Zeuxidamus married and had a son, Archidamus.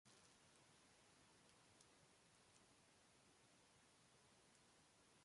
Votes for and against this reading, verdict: 0, 2, rejected